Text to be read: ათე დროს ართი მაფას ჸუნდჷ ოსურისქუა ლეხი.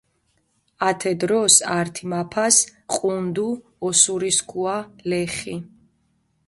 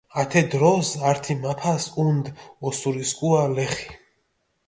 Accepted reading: second